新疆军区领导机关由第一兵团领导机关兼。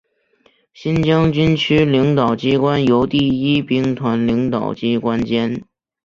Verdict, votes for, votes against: accepted, 4, 0